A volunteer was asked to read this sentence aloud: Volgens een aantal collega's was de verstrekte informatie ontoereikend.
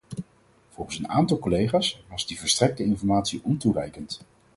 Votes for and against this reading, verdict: 2, 4, rejected